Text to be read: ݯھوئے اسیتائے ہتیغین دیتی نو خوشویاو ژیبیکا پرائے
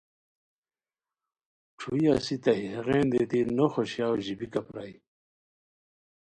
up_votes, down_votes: 2, 1